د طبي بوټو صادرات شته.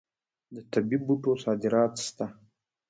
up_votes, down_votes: 0, 2